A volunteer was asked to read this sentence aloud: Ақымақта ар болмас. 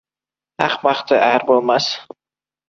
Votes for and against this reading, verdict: 1, 2, rejected